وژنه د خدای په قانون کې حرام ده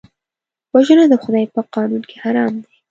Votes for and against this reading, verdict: 3, 1, accepted